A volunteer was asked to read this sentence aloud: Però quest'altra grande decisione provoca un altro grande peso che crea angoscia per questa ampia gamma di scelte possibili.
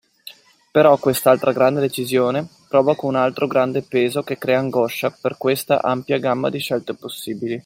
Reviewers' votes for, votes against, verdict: 2, 0, accepted